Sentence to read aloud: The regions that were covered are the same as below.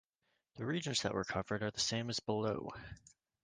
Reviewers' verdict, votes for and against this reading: accepted, 2, 0